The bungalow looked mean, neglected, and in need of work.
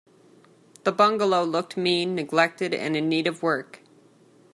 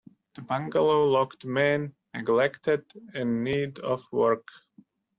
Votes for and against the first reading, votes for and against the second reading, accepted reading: 2, 0, 1, 2, first